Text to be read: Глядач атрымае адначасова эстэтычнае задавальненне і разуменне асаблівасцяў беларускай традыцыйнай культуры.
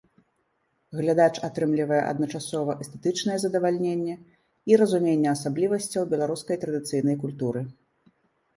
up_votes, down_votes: 1, 2